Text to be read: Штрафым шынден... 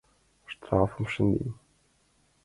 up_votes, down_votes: 2, 1